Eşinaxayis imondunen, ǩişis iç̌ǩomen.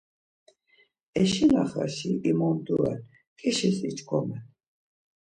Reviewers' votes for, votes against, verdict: 0, 2, rejected